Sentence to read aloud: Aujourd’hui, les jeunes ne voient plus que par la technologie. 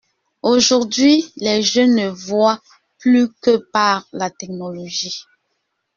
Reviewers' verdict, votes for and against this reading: accepted, 2, 0